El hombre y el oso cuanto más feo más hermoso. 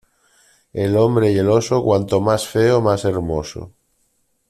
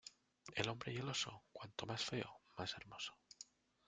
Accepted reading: first